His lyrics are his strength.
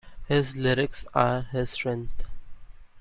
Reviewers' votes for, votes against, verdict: 2, 0, accepted